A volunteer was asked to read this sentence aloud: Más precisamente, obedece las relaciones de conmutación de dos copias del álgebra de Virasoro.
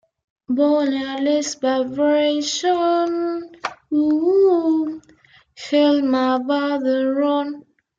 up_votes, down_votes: 0, 2